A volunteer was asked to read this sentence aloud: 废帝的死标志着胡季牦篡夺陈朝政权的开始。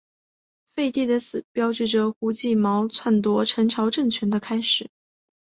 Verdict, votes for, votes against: accepted, 4, 1